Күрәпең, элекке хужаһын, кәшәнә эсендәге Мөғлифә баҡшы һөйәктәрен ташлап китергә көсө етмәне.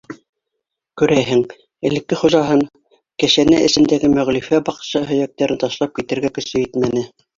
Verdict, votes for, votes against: rejected, 0, 2